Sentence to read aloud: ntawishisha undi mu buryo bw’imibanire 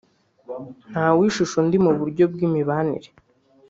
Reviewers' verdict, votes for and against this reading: rejected, 1, 2